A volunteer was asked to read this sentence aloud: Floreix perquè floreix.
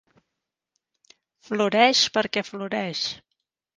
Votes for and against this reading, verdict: 3, 0, accepted